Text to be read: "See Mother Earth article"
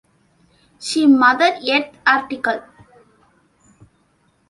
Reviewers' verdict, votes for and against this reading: rejected, 1, 2